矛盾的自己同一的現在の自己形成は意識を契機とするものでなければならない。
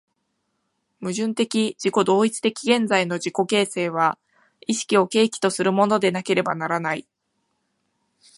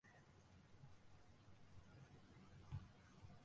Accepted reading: first